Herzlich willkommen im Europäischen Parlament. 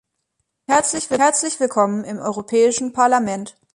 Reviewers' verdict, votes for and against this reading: rejected, 0, 3